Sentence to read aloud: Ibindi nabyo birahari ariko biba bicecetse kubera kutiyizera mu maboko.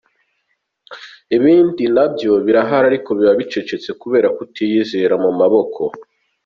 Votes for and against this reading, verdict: 2, 1, accepted